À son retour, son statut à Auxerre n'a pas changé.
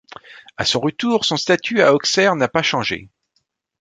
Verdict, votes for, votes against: accepted, 2, 0